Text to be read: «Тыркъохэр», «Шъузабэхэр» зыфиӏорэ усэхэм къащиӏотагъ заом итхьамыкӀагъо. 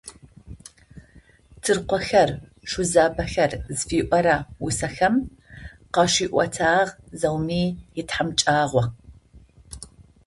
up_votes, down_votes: 0, 2